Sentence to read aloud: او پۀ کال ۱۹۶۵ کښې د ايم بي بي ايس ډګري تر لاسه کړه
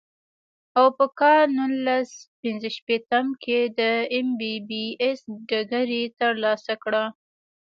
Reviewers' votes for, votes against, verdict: 0, 2, rejected